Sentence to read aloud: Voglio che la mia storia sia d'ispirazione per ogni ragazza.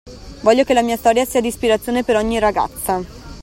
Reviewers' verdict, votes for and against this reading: accepted, 2, 0